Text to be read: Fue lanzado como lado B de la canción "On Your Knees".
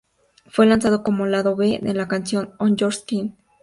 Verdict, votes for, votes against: accepted, 4, 0